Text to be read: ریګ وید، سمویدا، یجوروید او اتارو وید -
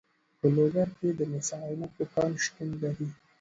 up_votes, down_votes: 1, 2